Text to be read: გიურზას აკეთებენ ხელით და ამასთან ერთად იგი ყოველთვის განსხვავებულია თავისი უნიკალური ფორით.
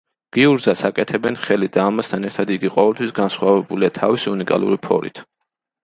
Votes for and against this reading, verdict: 2, 0, accepted